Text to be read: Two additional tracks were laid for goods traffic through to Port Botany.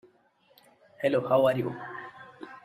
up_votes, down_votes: 0, 2